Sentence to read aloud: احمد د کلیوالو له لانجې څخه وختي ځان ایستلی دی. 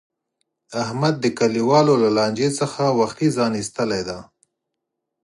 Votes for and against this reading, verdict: 4, 0, accepted